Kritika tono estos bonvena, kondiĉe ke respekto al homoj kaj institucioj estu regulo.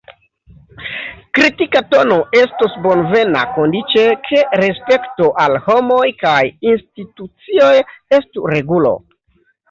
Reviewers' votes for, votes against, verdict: 1, 2, rejected